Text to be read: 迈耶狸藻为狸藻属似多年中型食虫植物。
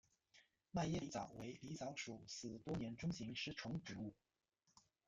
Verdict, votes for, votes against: accepted, 2, 1